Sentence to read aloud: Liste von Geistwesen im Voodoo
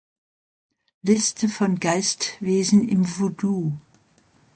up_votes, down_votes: 2, 0